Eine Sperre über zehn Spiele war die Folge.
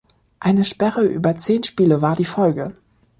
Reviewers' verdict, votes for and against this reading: accepted, 2, 0